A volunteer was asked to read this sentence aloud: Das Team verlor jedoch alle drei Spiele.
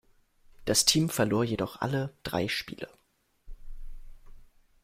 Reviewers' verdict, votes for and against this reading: accepted, 2, 0